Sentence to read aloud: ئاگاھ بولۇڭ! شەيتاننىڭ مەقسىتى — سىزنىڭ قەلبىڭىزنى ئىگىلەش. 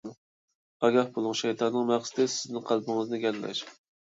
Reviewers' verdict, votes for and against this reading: rejected, 1, 2